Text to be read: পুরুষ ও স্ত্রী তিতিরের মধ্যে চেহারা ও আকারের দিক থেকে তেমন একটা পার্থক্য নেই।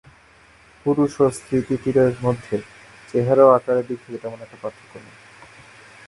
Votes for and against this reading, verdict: 2, 1, accepted